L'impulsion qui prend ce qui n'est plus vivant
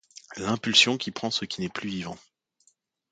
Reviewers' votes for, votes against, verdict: 2, 0, accepted